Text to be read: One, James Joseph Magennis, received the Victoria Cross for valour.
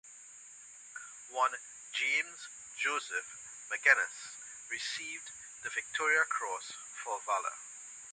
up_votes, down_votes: 3, 0